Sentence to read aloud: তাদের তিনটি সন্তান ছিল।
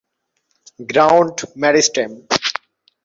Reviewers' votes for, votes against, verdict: 0, 2, rejected